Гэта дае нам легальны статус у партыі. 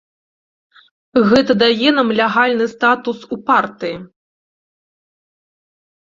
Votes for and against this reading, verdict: 0, 2, rejected